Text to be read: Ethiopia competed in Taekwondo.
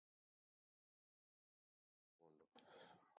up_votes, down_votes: 0, 2